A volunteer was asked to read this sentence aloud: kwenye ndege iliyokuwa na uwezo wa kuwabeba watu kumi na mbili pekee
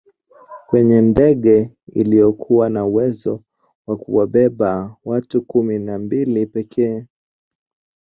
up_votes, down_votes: 0, 2